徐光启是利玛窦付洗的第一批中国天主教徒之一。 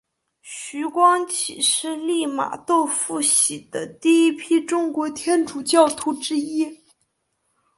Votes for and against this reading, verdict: 2, 0, accepted